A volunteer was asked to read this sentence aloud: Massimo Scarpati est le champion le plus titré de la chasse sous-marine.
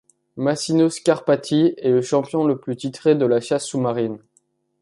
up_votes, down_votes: 0, 2